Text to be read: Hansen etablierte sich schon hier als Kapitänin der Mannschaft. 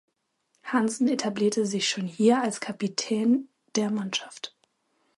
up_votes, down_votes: 0, 2